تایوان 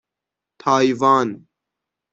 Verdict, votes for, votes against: accepted, 6, 3